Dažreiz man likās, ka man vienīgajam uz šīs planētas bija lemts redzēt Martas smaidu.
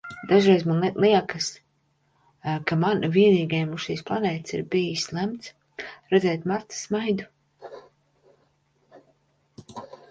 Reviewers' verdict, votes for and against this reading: rejected, 0, 2